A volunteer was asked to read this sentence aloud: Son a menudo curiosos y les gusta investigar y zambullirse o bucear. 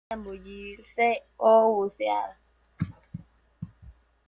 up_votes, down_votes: 0, 2